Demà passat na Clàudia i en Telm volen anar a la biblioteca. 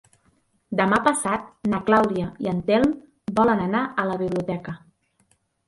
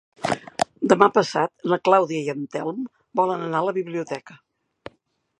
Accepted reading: first